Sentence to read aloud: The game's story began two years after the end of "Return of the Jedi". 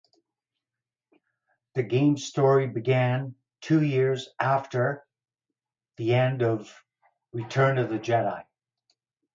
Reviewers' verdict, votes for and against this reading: accepted, 4, 0